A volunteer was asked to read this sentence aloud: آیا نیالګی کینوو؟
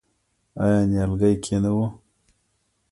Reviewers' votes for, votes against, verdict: 1, 2, rejected